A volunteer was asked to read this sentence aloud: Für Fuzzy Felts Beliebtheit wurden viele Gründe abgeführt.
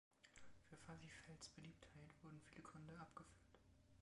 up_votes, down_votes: 0, 2